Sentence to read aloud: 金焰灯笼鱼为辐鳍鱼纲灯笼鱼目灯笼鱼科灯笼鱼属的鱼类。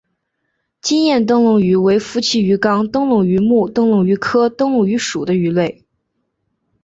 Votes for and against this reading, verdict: 3, 1, accepted